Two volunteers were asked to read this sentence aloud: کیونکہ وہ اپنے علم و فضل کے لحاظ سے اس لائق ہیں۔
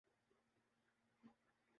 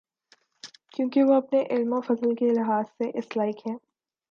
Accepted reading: second